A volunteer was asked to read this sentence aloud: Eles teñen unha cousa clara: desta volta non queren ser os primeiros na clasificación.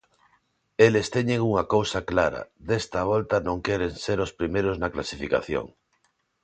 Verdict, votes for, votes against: accepted, 3, 0